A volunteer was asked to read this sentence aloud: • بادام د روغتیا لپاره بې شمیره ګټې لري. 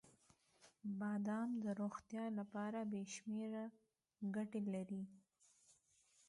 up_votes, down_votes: 1, 2